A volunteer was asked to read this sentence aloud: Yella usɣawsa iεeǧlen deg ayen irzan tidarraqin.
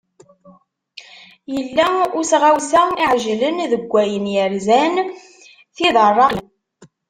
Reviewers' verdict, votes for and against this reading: rejected, 1, 2